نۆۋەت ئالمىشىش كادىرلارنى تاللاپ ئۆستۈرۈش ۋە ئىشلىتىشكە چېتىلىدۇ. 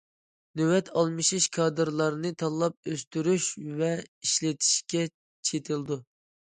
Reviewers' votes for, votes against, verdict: 2, 0, accepted